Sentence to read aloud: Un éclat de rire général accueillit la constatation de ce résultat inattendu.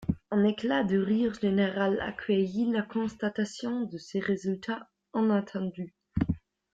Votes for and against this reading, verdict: 1, 2, rejected